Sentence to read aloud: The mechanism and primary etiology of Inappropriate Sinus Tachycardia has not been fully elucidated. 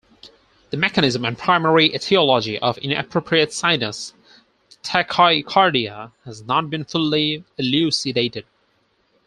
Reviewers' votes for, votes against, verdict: 4, 2, accepted